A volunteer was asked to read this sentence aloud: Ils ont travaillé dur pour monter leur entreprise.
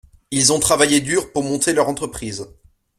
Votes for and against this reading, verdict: 2, 0, accepted